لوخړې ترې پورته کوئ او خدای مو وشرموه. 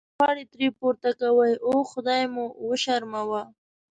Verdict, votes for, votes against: rejected, 1, 2